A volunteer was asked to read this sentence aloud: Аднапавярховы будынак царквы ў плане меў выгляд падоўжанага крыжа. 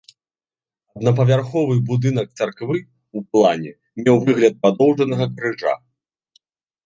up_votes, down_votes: 2, 0